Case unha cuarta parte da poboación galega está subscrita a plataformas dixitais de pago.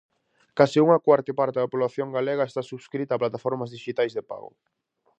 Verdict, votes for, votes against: rejected, 0, 4